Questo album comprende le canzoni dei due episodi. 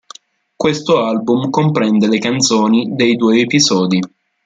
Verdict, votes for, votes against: accepted, 2, 0